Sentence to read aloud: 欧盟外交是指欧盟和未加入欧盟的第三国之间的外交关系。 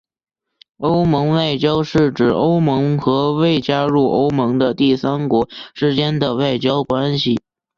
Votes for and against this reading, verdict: 4, 0, accepted